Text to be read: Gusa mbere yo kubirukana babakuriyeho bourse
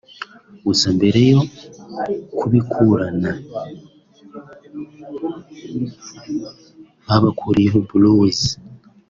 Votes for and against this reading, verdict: 1, 2, rejected